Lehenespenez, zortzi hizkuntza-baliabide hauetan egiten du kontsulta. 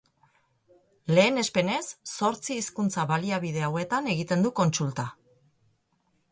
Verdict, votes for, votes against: accepted, 6, 0